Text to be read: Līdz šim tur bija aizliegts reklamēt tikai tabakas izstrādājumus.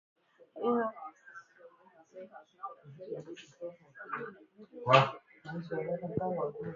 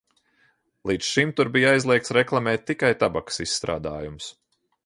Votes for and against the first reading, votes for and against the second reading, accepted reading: 0, 2, 2, 0, second